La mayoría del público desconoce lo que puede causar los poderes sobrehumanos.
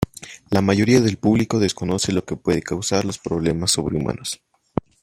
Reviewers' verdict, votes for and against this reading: rejected, 0, 2